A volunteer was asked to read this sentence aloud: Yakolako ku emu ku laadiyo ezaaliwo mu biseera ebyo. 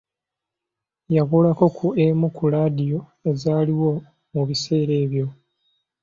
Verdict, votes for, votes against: accepted, 2, 0